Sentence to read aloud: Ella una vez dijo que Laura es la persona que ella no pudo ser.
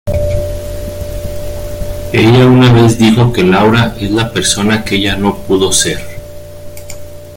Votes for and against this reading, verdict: 2, 1, accepted